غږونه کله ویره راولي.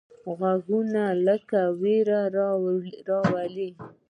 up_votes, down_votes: 0, 2